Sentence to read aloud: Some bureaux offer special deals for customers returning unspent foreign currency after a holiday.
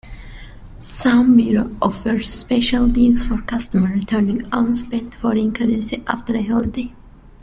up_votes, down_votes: 2, 1